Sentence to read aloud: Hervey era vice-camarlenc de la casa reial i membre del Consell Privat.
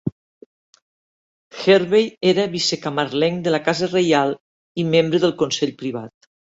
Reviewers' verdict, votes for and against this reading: accepted, 2, 0